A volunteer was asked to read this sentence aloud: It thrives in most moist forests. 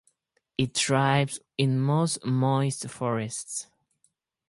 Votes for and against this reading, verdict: 4, 0, accepted